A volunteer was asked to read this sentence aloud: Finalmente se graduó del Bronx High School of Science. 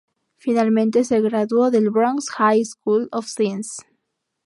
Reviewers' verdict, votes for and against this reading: accepted, 4, 0